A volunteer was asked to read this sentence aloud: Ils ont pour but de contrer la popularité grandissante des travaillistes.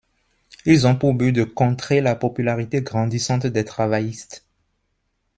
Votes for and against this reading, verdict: 2, 0, accepted